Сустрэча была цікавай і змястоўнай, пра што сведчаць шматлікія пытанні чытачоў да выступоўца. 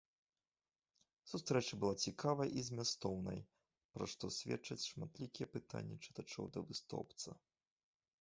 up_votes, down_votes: 1, 2